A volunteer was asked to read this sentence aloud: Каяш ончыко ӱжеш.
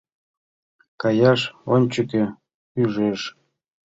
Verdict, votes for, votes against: rejected, 0, 2